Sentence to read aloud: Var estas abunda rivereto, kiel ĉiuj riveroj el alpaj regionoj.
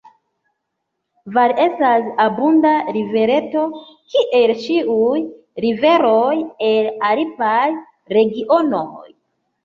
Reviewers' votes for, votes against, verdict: 2, 1, accepted